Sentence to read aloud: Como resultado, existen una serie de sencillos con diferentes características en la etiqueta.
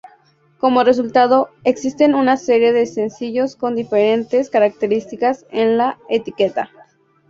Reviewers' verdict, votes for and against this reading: accepted, 2, 0